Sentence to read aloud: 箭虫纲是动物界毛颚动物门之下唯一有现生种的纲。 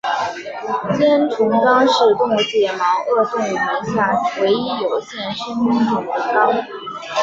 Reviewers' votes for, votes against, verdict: 0, 3, rejected